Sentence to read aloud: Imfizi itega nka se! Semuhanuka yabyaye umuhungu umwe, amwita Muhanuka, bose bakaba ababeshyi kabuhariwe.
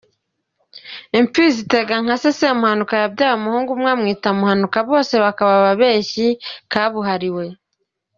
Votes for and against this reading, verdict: 3, 0, accepted